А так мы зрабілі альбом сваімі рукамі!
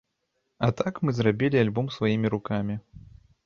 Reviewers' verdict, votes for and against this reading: accepted, 2, 0